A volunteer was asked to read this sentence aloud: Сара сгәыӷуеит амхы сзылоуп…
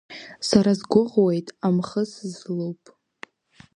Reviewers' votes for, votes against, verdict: 0, 2, rejected